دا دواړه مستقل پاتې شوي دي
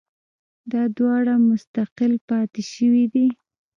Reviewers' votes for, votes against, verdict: 0, 2, rejected